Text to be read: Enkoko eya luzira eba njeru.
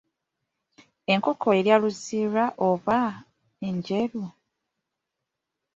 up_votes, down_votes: 2, 1